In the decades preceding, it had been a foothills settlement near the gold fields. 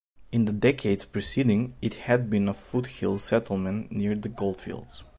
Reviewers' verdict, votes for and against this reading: accepted, 2, 0